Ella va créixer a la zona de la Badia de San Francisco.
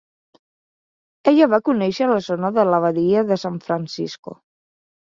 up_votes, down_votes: 1, 2